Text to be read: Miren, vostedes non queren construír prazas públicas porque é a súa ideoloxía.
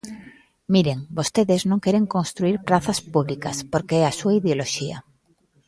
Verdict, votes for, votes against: accepted, 2, 1